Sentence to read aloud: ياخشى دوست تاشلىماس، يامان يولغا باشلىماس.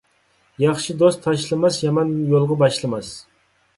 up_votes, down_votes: 3, 0